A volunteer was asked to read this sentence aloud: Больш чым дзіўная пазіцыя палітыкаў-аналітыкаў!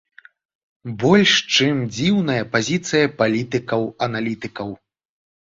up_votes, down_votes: 2, 0